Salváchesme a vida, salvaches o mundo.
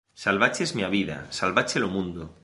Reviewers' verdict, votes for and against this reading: rejected, 1, 2